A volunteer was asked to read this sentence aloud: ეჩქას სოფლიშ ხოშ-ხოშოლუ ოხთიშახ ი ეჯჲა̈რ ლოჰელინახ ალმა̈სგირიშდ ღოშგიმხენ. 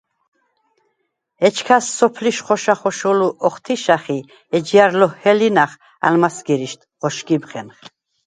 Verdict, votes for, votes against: rejected, 0, 4